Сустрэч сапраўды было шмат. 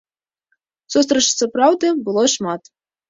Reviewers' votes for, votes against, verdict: 1, 2, rejected